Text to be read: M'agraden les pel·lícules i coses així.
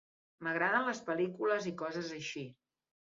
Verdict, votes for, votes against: accepted, 2, 0